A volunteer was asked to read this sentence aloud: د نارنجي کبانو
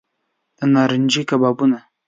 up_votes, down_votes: 1, 2